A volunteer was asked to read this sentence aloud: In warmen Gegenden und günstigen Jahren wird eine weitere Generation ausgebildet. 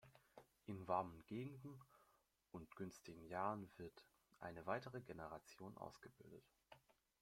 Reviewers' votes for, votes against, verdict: 1, 2, rejected